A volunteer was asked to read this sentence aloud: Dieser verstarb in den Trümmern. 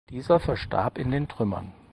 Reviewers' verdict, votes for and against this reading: accepted, 4, 0